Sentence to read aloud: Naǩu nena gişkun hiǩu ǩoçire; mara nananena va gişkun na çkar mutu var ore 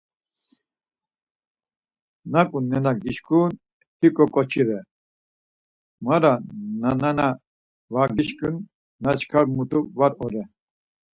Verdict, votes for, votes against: rejected, 2, 4